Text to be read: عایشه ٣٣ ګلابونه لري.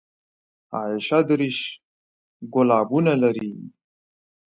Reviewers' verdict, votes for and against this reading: rejected, 0, 2